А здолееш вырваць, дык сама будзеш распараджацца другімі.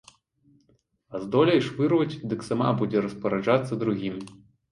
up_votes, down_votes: 0, 2